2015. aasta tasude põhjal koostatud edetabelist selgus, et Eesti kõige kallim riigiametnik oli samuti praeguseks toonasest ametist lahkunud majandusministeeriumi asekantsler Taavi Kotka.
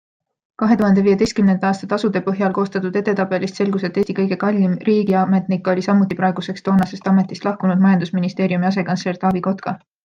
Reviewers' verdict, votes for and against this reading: rejected, 0, 2